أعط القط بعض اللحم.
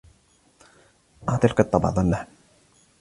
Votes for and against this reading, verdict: 2, 0, accepted